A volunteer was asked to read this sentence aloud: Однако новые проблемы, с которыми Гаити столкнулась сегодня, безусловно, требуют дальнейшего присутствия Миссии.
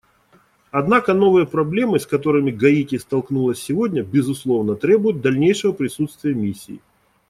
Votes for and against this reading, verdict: 2, 0, accepted